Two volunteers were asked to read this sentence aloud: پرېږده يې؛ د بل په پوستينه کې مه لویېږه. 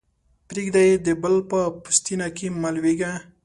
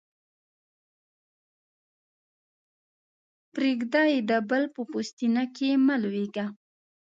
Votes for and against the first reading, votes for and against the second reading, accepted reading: 2, 0, 0, 2, first